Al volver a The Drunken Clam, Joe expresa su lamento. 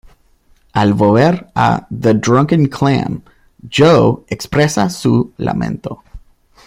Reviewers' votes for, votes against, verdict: 1, 2, rejected